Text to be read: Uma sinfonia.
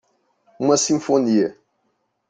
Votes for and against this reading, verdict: 2, 0, accepted